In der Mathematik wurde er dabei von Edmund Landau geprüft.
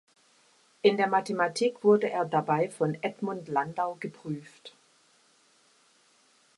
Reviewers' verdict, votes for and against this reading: accepted, 2, 0